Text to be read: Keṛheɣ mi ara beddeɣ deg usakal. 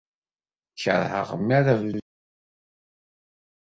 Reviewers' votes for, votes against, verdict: 1, 2, rejected